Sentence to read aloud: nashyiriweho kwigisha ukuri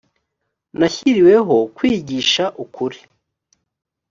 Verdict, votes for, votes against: accepted, 2, 0